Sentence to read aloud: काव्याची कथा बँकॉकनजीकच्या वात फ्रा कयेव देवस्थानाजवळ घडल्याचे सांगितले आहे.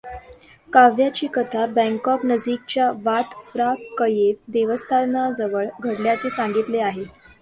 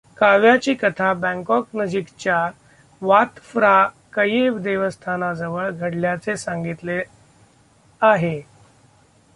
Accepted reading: first